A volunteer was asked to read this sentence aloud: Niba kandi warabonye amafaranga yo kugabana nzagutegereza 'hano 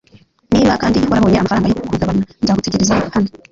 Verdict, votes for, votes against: rejected, 0, 2